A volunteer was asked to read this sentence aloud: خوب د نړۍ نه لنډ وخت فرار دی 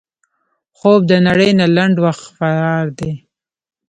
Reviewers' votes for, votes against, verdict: 1, 2, rejected